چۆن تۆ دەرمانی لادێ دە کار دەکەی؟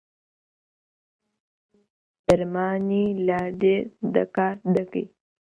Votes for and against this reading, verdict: 0, 2, rejected